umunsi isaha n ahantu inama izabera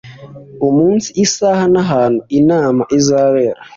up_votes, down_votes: 2, 0